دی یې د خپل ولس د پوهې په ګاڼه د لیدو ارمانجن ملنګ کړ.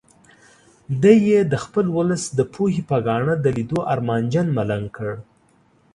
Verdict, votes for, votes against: accepted, 2, 0